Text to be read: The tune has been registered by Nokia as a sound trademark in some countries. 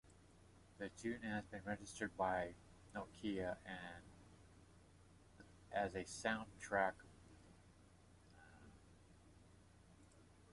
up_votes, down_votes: 0, 2